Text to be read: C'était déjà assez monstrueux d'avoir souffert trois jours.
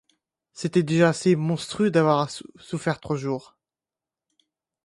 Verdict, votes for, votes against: accepted, 2, 0